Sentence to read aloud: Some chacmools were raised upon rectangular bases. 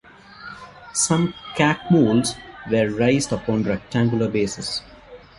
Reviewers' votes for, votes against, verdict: 2, 0, accepted